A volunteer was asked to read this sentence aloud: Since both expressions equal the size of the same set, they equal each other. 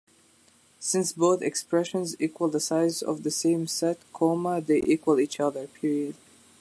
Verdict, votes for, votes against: accepted, 2, 0